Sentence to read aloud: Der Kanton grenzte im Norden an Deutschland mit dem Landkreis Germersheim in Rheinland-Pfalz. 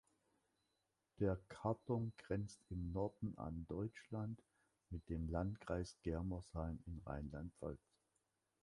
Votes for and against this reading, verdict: 1, 2, rejected